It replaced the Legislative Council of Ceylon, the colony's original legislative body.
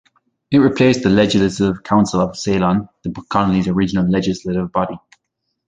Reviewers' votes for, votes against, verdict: 1, 2, rejected